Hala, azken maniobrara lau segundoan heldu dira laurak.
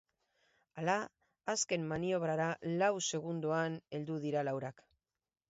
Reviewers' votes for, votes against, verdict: 2, 0, accepted